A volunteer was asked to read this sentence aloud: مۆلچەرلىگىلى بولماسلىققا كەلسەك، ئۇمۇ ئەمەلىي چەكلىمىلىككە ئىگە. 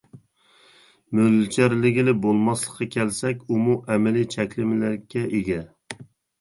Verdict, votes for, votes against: rejected, 1, 2